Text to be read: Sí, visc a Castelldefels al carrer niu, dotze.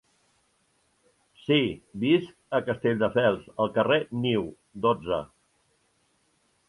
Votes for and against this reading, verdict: 3, 0, accepted